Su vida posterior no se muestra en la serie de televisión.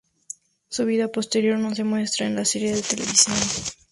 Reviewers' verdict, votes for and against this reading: rejected, 0, 2